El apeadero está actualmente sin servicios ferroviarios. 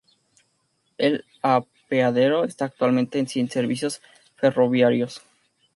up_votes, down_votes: 0, 2